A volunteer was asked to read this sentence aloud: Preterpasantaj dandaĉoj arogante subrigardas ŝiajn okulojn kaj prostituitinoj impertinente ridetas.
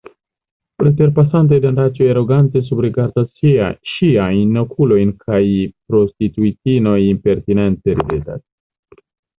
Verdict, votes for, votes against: rejected, 0, 2